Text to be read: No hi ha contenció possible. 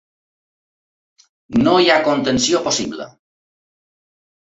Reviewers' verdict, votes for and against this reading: accepted, 3, 0